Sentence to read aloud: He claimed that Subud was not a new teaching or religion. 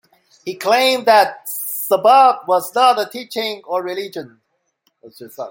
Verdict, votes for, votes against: rejected, 1, 2